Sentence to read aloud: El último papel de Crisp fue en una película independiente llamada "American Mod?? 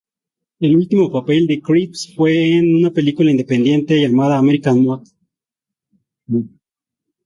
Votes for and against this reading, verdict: 0, 2, rejected